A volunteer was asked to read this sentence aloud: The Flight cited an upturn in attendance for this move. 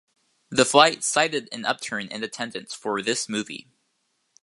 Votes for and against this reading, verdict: 1, 2, rejected